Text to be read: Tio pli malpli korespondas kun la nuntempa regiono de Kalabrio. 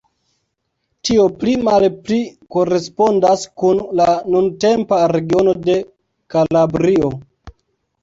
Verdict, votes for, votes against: accepted, 2, 0